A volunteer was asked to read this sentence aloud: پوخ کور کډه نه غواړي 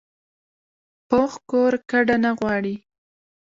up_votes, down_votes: 1, 2